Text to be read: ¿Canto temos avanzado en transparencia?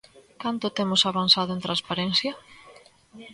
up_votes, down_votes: 2, 0